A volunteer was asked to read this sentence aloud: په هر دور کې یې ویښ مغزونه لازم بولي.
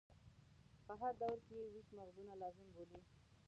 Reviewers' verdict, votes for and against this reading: rejected, 0, 2